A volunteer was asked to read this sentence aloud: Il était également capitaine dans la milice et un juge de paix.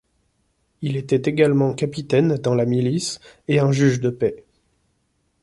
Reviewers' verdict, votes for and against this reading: accepted, 2, 0